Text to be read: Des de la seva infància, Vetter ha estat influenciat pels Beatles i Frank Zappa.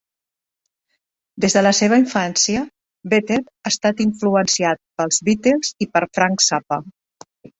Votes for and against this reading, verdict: 2, 3, rejected